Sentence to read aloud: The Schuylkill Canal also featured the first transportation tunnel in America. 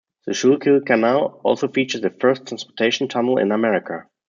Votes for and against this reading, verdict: 2, 0, accepted